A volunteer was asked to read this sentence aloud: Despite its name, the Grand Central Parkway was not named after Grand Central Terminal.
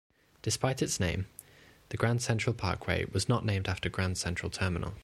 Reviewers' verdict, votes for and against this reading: accepted, 2, 0